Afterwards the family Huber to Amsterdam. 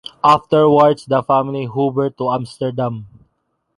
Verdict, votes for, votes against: accepted, 2, 0